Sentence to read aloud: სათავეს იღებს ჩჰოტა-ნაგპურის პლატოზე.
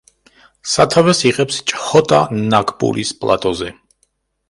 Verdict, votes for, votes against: accepted, 2, 0